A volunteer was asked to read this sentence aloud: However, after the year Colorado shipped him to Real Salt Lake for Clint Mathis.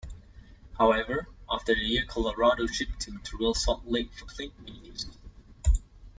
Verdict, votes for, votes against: rejected, 0, 2